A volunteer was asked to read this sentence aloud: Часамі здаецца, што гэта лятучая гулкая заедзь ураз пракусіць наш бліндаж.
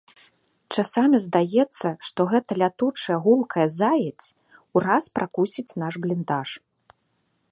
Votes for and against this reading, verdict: 2, 0, accepted